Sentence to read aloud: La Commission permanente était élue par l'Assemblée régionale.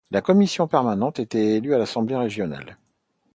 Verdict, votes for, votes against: rejected, 0, 2